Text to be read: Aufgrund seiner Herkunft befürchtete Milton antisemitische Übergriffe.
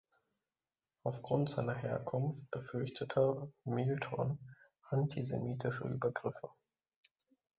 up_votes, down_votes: 2, 3